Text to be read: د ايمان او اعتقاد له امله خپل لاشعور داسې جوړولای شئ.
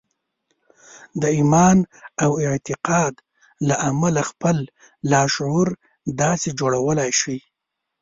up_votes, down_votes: 1, 2